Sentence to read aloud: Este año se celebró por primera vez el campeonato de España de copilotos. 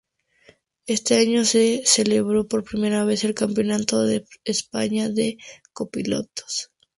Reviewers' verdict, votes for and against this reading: rejected, 0, 2